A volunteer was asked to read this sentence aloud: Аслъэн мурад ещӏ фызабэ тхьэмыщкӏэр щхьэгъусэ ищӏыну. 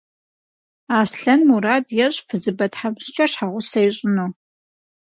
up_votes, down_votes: 0, 4